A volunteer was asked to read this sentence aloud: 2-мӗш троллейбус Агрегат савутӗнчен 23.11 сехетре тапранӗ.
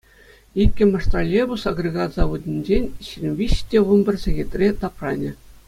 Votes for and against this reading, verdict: 0, 2, rejected